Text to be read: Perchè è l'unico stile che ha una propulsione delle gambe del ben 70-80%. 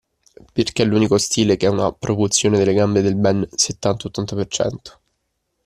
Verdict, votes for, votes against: rejected, 0, 2